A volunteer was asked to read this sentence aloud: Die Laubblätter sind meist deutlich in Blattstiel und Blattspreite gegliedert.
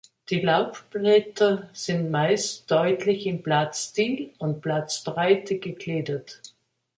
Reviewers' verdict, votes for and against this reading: accepted, 2, 1